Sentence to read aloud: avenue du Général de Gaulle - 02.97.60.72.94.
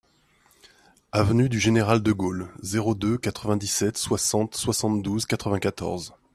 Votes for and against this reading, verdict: 0, 2, rejected